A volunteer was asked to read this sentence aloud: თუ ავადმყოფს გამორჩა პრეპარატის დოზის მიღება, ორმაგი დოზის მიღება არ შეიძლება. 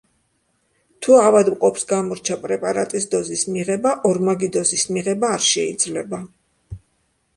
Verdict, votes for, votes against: accepted, 2, 0